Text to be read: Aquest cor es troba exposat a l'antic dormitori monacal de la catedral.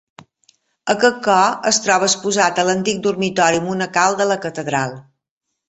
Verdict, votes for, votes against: accepted, 2, 0